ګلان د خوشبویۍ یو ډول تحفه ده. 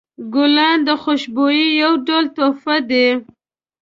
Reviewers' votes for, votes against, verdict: 1, 2, rejected